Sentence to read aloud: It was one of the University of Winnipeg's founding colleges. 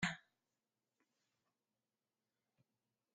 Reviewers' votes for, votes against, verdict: 0, 2, rejected